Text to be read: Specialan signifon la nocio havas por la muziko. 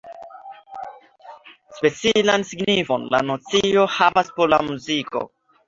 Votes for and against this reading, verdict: 2, 0, accepted